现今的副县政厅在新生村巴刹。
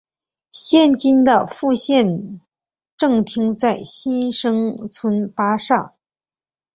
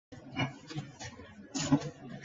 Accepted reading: first